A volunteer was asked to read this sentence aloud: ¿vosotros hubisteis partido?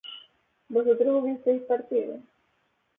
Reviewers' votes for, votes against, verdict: 2, 2, rejected